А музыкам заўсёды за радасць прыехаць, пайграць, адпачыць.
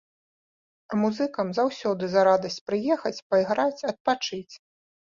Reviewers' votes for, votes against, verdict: 2, 0, accepted